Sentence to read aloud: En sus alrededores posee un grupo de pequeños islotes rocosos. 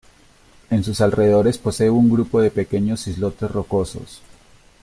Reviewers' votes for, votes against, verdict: 2, 0, accepted